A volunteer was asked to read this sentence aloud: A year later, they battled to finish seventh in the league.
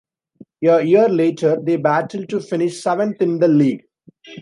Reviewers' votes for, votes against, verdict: 2, 1, accepted